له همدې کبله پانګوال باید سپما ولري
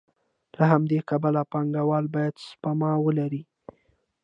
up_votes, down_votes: 2, 1